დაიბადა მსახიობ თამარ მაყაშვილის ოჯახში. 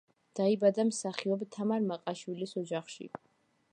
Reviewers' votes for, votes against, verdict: 2, 0, accepted